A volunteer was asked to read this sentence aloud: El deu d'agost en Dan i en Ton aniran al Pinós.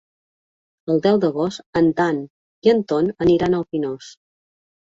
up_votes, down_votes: 2, 0